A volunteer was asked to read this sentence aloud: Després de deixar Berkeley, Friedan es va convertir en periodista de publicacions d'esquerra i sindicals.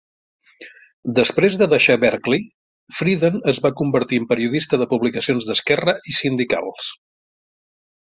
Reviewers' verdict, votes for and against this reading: accepted, 2, 0